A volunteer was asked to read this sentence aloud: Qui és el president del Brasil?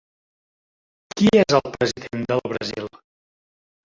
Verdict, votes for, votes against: rejected, 0, 2